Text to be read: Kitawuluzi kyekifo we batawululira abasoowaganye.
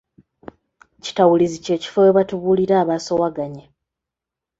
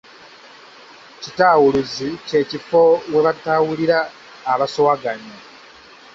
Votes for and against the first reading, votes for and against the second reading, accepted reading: 0, 2, 2, 1, second